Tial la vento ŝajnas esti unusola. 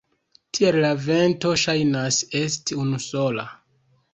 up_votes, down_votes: 2, 0